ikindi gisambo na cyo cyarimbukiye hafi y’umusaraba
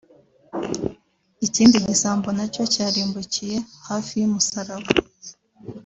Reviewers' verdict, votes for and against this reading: rejected, 1, 2